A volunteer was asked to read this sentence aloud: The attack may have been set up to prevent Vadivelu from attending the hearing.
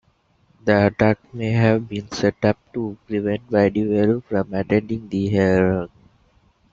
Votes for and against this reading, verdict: 0, 2, rejected